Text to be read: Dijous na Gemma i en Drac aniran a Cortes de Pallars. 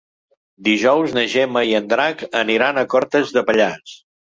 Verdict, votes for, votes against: accepted, 3, 0